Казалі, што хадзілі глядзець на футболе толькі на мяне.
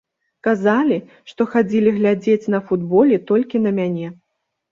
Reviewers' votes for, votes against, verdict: 2, 0, accepted